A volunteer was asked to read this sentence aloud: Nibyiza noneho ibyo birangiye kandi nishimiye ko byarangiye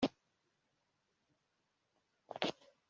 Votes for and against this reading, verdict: 0, 2, rejected